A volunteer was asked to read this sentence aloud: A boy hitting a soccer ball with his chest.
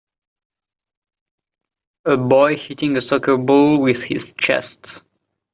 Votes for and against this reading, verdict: 3, 0, accepted